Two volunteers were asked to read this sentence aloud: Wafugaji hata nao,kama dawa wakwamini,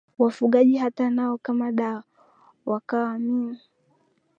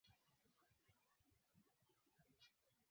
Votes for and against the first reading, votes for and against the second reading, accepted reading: 11, 8, 2, 3, first